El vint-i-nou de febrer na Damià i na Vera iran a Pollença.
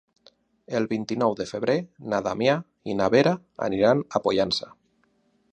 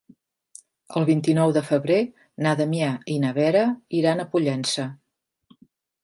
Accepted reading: second